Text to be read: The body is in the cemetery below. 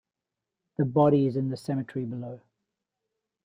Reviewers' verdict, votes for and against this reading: accepted, 2, 0